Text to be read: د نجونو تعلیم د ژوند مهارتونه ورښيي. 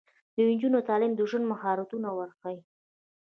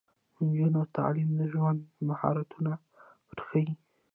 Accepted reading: second